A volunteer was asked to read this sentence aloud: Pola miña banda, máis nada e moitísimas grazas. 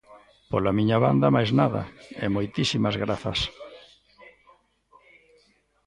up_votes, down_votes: 1, 2